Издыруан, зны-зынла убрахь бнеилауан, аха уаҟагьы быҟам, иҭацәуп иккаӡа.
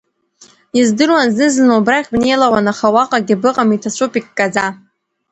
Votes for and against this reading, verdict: 0, 2, rejected